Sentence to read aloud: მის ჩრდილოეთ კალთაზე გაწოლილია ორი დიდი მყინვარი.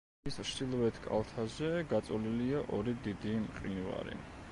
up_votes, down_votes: 1, 2